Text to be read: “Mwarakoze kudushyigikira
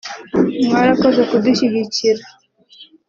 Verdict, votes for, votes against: accepted, 2, 0